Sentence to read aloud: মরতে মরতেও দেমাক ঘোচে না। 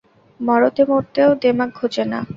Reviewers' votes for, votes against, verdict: 0, 4, rejected